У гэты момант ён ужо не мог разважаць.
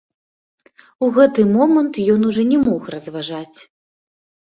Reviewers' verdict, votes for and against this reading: rejected, 0, 2